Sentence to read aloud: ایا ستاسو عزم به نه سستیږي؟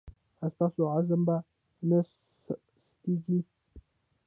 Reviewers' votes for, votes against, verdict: 0, 2, rejected